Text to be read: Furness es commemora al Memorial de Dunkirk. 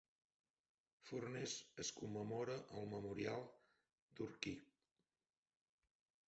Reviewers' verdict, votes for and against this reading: rejected, 0, 4